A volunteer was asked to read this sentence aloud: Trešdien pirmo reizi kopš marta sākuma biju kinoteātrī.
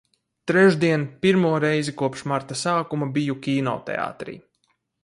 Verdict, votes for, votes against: accepted, 4, 0